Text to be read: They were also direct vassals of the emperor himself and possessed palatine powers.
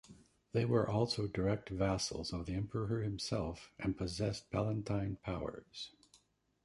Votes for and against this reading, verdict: 0, 2, rejected